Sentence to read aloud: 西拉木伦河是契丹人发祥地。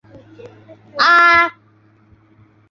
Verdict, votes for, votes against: rejected, 0, 2